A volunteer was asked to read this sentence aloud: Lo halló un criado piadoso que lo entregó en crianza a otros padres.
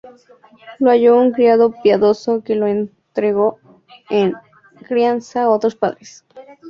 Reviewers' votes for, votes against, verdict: 2, 6, rejected